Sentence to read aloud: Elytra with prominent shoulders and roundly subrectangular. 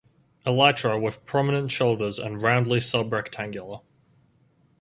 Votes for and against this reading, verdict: 2, 2, rejected